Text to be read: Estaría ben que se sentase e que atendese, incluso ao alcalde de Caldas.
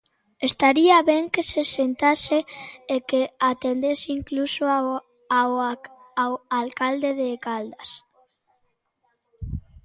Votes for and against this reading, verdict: 0, 2, rejected